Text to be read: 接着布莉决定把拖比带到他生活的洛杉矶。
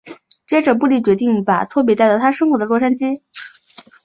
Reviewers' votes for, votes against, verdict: 2, 0, accepted